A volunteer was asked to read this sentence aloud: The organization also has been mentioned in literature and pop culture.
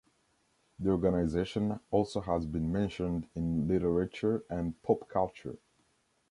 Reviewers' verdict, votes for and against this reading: accepted, 2, 0